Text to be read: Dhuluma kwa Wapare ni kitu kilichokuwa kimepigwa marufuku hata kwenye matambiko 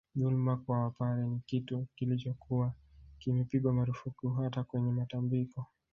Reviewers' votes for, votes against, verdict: 1, 2, rejected